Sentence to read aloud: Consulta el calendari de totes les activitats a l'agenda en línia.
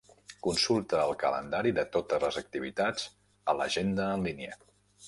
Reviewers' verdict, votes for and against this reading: accepted, 3, 0